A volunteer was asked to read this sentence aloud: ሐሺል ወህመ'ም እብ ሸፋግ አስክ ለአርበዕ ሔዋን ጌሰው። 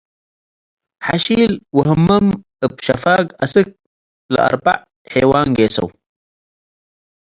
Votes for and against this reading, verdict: 2, 0, accepted